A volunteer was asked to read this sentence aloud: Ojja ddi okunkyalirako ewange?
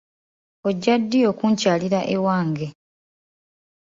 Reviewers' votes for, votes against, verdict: 0, 2, rejected